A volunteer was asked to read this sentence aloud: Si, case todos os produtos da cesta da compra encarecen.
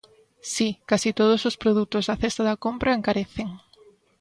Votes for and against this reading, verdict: 2, 0, accepted